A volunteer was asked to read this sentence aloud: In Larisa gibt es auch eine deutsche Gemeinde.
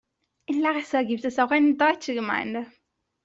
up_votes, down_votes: 2, 1